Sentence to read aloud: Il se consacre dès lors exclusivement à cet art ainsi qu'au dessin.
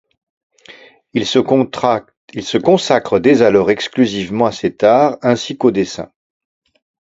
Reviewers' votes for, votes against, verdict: 0, 2, rejected